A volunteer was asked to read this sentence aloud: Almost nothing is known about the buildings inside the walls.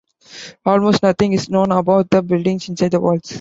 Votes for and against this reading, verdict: 2, 0, accepted